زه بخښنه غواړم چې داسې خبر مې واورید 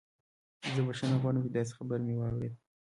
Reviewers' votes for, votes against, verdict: 2, 1, accepted